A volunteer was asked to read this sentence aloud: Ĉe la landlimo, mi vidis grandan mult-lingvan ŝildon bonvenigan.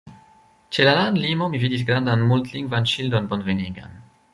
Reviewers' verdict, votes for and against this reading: rejected, 2, 3